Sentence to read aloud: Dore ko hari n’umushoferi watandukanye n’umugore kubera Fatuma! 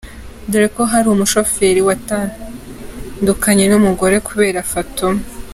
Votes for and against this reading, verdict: 2, 1, accepted